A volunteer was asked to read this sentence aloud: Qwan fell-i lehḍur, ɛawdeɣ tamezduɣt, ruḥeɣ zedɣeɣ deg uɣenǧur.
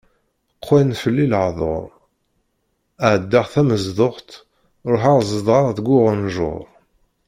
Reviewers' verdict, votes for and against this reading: rejected, 0, 2